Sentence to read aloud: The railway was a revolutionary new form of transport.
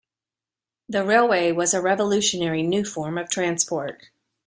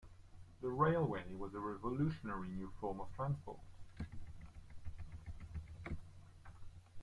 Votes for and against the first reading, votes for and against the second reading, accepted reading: 2, 0, 1, 2, first